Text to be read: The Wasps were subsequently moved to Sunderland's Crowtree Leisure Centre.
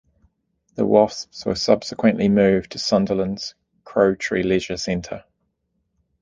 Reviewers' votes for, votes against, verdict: 2, 0, accepted